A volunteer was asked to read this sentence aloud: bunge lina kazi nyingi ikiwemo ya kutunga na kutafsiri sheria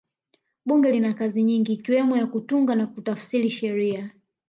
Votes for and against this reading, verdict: 2, 0, accepted